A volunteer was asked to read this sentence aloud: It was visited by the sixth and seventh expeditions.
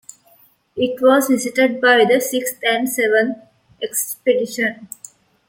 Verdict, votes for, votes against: accepted, 2, 1